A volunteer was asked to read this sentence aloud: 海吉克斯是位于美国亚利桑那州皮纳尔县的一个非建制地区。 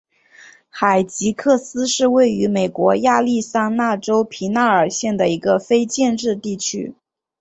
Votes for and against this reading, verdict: 5, 0, accepted